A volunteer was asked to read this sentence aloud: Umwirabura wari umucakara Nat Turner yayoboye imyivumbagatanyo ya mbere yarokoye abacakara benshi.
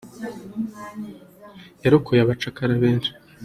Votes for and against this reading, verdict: 0, 3, rejected